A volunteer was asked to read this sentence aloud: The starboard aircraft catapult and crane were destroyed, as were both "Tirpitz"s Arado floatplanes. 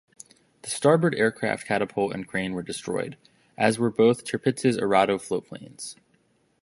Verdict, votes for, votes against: accepted, 2, 0